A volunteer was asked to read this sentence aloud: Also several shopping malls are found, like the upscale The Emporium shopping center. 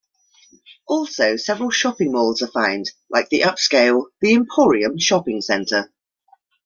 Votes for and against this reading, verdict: 2, 0, accepted